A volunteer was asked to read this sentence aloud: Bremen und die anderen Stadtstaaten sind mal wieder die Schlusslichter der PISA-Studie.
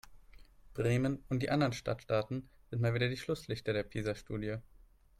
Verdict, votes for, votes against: accepted, 4, 0